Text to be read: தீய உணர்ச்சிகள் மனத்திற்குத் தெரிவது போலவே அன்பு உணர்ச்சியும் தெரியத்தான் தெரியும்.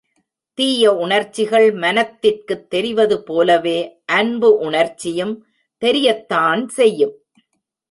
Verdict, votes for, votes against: rejected, 1, 2